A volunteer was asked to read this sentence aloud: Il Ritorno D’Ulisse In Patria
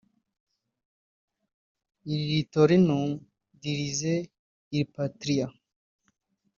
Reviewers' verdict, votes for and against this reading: rejected, 1, 2